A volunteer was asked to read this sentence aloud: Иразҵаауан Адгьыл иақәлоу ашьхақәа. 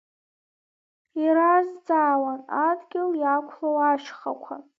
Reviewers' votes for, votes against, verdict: 0, 2, rejected